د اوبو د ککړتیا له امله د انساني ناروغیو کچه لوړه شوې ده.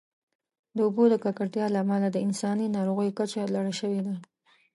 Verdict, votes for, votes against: accepted, 2, 0